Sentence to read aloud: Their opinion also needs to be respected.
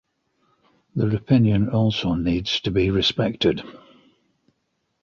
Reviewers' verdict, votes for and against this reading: accepted, 2, 1